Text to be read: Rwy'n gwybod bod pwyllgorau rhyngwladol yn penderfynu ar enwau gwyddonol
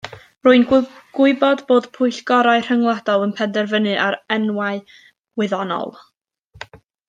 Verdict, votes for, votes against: rejected, 0, 2